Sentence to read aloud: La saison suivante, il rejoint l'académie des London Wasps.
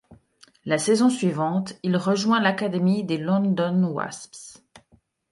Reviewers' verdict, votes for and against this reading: accepted, 2, 0